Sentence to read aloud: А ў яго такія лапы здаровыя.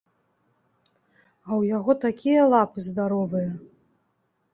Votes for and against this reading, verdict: 2, 0, accepted